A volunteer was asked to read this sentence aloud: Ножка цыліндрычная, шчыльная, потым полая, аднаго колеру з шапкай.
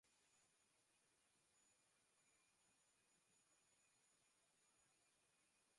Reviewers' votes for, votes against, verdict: 0, 2, rejected